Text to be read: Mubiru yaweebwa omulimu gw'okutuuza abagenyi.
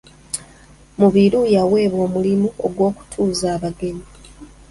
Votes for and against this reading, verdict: 1, 2, rejected